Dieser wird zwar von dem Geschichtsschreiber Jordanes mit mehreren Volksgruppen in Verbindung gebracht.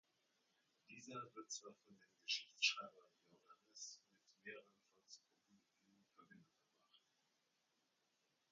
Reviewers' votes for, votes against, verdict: 0, 2, rejected